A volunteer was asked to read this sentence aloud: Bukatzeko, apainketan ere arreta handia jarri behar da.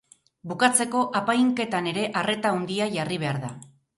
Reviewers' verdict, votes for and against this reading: accepted, 2, 0